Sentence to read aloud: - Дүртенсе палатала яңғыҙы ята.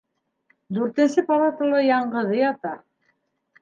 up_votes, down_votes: 2, 0